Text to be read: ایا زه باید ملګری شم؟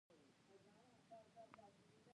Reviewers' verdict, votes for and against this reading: rejected, 1, 2